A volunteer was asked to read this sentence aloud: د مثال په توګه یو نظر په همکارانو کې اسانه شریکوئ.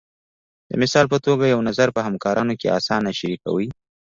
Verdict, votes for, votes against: accepted, 2, 0